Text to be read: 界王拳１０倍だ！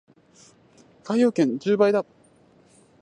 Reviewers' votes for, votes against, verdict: 0, 2, rejected